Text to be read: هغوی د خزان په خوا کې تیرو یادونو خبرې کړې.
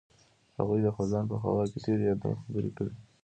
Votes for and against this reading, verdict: 2, 0, accepted